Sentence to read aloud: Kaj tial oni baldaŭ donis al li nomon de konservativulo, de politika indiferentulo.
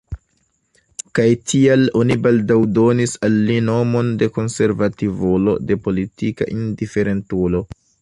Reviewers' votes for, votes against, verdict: 1, 2, rejected